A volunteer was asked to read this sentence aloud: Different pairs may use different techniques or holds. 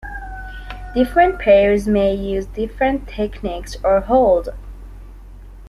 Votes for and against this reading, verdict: 0, 2, rejected